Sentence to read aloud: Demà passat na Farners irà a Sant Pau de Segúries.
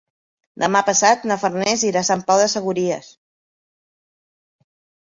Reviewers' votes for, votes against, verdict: 2, 1, accepted